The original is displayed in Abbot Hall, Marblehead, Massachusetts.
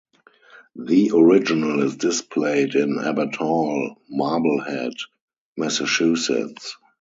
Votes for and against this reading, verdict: 2, 2, rejected